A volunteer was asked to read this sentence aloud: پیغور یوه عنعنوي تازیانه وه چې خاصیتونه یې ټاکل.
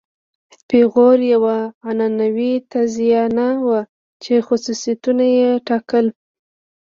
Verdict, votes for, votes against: accepted, 2, 0